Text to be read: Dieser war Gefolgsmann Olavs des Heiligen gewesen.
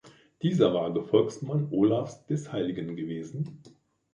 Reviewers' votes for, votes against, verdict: 2, 1, accepted